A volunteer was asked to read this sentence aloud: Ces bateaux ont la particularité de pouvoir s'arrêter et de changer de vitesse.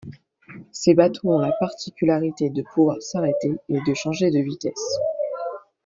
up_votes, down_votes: 2, 0